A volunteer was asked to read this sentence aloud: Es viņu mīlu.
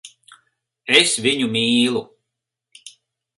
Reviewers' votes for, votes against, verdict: 4, 0, accepted